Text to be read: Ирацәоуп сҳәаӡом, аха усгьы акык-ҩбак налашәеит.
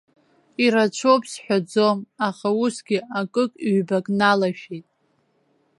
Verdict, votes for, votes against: accepted, 2, 0